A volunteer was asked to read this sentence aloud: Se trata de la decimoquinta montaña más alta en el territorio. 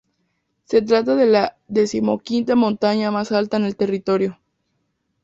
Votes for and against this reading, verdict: 0, 2, rejected